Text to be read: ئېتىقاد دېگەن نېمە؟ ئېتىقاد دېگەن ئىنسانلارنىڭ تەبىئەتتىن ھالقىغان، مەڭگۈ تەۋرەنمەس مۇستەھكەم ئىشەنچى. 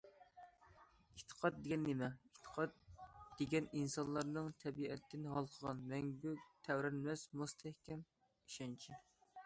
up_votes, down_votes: 2, 0